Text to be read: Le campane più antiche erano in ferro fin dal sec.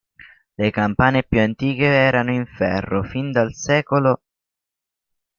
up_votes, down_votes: 2, 0